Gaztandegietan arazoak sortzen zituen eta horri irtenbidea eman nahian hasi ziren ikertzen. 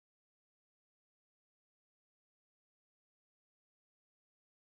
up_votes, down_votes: 0, 2